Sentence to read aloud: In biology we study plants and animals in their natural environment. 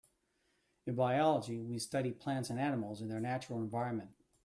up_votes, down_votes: 3, 0